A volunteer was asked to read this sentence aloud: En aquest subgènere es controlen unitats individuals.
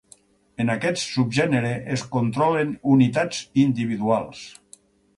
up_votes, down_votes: 6, 0